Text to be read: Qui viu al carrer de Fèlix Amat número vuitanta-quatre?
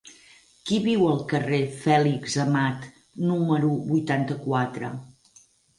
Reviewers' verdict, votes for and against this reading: rejected, 2, 4